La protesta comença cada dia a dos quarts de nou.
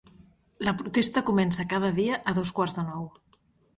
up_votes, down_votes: 2, 0